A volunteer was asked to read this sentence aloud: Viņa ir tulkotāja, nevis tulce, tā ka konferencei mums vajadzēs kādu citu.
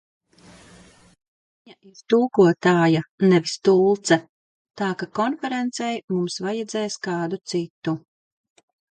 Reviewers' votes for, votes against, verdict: 0, 2, rejected